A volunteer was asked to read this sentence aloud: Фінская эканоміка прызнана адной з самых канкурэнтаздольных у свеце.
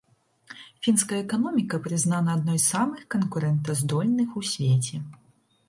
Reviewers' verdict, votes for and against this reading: accepted, 2, 0